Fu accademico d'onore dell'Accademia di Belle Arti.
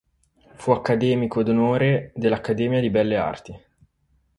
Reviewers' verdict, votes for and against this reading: accepted, 4, 0